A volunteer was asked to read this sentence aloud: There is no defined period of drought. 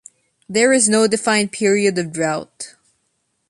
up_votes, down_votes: 2, 0